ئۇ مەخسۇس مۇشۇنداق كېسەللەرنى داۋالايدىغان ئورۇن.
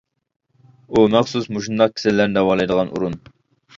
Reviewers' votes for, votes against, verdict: 2, 1, accepted